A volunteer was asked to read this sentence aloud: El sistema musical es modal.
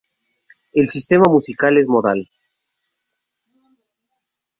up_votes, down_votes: 2, 2